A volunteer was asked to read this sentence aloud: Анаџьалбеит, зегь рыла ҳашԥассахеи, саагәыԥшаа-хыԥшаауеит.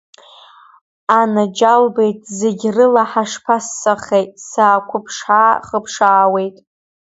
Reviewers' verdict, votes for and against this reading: accepted, 2, 1